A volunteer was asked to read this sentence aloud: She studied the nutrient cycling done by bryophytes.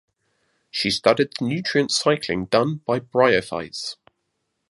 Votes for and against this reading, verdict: 2, 0, accepted